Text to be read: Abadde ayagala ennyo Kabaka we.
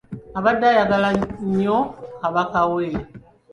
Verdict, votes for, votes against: rejected, 0, 2